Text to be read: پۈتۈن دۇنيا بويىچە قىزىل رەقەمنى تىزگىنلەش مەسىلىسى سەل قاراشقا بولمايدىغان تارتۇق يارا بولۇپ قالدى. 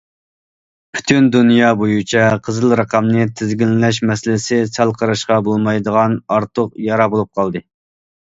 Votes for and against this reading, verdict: 0, 2, rejected